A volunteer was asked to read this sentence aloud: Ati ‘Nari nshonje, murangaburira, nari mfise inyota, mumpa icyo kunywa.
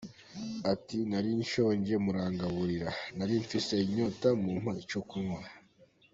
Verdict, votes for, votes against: accepted, 2, 0